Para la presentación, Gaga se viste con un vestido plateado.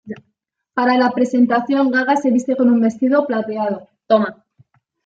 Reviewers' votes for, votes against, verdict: 0, 2, rejected